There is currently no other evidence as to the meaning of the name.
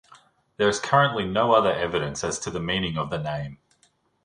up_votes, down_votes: 2, 0